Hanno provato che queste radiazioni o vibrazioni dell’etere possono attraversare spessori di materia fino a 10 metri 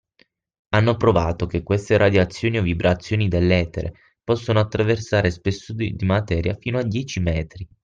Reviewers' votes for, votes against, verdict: 0, 2, rejected